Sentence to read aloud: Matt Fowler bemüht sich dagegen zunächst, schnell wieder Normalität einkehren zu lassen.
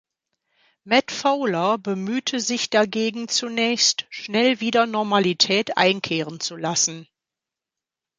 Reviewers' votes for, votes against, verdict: 0, 2, rejected